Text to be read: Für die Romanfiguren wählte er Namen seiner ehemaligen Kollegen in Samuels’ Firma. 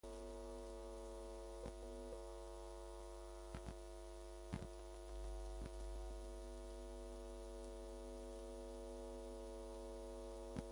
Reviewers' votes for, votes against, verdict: 0, 2, rejected